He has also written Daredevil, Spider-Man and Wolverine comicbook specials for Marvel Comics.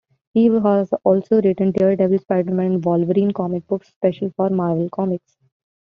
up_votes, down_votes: 2, 1